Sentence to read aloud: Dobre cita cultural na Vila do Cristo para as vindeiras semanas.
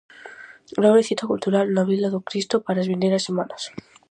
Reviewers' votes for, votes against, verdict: 4, 0, accepted